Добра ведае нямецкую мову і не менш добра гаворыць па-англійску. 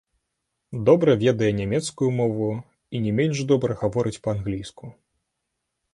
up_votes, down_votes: 0, 3